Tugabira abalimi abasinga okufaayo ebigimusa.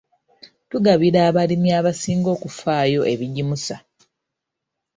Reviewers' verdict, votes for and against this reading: accepted, 3, 1